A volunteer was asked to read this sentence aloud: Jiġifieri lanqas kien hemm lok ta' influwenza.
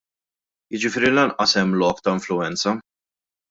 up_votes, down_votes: 1, 2